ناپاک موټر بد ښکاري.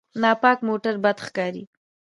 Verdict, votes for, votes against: accepted, 2, 0